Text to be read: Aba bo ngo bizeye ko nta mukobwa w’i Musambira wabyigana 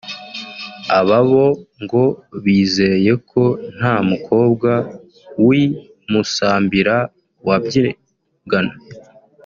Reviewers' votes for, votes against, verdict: 1, 2, rejected